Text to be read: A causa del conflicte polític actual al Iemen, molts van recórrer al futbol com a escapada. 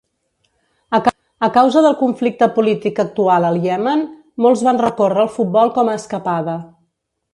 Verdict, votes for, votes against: rejected, 1, 2